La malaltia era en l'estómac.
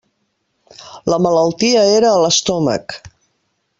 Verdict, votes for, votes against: rejected, 1, 2